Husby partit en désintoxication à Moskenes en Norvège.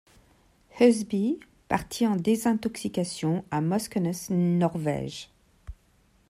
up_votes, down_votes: 1, 2